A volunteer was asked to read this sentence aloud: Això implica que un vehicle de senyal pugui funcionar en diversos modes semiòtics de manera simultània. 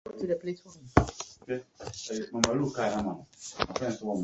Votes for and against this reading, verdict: 0, 2, rejected